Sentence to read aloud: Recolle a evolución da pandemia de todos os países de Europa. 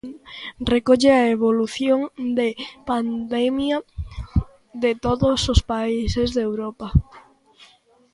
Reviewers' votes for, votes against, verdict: 0, 2, rejected